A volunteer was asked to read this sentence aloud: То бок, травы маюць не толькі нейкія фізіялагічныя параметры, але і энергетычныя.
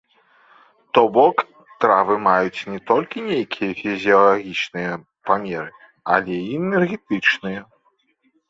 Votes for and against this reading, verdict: 1, 2, rejected